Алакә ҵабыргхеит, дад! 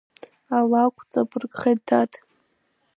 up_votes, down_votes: 1, 2